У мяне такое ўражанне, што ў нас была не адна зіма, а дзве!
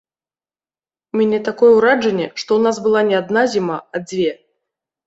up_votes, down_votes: 1, 2